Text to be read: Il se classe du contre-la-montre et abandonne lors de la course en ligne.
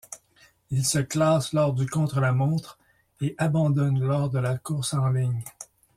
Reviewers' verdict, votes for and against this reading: rejected, 0, 2